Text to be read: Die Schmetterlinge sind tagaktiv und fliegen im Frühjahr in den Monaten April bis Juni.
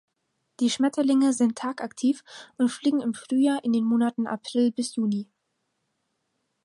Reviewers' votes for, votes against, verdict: 4, 0, accepted